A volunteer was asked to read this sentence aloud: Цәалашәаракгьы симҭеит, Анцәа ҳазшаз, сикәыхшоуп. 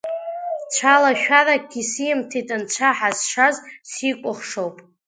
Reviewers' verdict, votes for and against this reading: rejected, 1, 2